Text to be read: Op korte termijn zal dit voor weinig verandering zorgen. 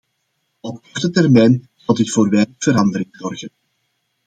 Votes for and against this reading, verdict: 2, 0, accepted